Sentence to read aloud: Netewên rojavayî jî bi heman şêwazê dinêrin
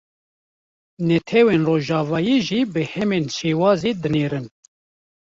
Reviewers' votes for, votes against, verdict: 0, 2, rejected